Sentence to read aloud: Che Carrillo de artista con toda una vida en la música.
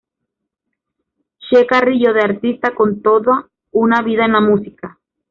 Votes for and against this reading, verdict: 2, 1, accepted